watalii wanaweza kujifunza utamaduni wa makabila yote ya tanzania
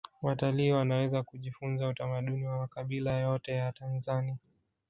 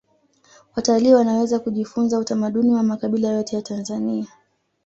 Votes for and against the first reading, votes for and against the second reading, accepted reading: 0, 2, 2, 0, second